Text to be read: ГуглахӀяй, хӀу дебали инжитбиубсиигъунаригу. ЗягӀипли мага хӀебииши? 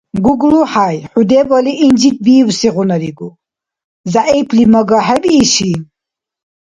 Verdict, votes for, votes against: rejected, 1, 2